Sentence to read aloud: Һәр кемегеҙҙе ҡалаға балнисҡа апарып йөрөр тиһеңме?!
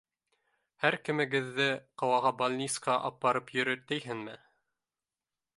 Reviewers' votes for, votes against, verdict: 1, 2, rejected